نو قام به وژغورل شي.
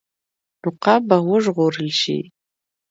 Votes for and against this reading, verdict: 2, 0, accepted